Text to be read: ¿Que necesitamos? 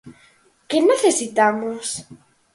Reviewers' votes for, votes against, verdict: 4, 0, accepted